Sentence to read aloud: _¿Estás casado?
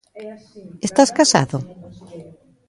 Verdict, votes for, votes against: rejected, 0, 2